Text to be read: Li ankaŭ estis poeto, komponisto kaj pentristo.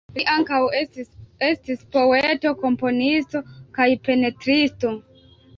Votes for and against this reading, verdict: 0, 3, rejected